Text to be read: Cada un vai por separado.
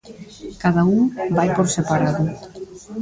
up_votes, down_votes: 0, 2